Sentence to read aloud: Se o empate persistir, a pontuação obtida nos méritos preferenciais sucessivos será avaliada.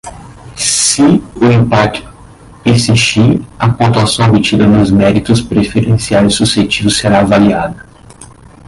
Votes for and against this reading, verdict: 0, 3, rejected